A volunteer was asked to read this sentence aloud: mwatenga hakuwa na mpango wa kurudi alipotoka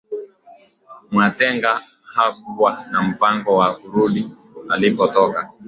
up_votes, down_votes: 2, 0